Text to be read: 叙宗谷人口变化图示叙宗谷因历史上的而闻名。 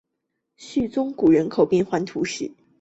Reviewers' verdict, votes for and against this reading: accepted, 3, 1